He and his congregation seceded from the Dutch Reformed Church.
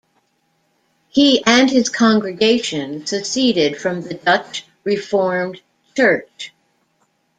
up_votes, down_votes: 2, 0